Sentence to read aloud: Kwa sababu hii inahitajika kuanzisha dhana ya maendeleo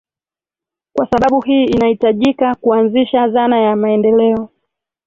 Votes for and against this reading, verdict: 0, 2, rejected